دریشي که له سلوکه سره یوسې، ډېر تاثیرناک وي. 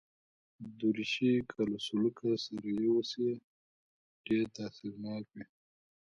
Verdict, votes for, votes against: accepted, 2, 0